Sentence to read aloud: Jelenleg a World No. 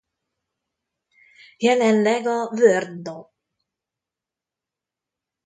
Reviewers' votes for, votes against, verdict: 0, 2, rejected